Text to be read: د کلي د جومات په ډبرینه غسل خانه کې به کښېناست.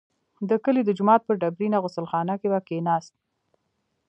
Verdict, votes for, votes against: rejected, 1, 2